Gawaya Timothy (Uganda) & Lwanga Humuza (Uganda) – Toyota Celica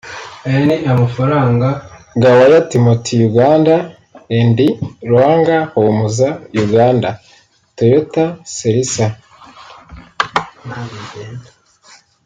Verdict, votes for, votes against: rejected, 0, 2